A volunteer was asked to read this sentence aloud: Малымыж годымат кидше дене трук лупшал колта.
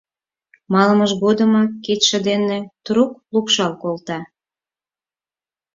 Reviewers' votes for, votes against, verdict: 4, 0, accepted